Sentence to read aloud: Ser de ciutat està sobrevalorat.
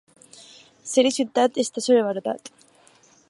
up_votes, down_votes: 6, 2